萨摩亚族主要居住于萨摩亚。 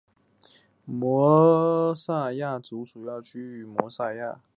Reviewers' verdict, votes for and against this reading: rejected, 1, 2